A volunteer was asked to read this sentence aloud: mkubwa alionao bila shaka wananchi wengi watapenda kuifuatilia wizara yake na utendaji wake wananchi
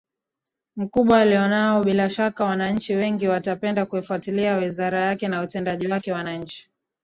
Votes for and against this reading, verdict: 2, 0, accepted